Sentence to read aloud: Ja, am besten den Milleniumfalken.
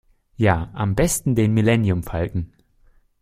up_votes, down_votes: 2, 0